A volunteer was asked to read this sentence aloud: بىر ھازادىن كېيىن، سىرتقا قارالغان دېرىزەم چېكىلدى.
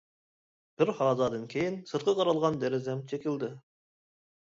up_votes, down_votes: 2, 0